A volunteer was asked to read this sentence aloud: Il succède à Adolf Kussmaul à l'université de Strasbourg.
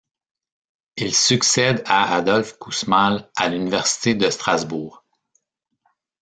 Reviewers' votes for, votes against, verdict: 1, 2, rejected